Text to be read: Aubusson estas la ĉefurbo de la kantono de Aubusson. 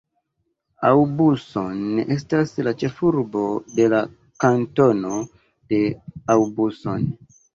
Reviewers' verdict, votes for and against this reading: rejected, 1, 2